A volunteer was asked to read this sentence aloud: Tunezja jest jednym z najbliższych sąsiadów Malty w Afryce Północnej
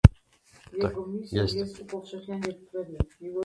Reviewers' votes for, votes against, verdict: 0, 2, rejected